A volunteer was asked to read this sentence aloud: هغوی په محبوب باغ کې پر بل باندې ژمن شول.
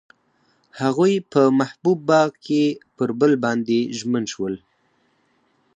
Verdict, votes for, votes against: accepted, 4, 2